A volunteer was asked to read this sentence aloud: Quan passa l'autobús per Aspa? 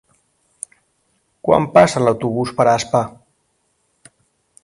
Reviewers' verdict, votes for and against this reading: accepted, 4, 0